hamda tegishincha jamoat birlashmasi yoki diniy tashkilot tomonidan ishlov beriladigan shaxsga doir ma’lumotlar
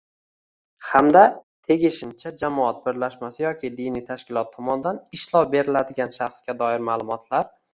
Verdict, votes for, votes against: rejected, 0, 2